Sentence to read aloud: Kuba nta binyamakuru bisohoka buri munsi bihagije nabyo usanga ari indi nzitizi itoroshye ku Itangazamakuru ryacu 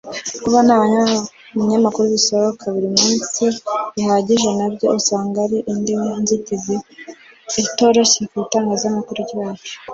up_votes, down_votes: 1, 2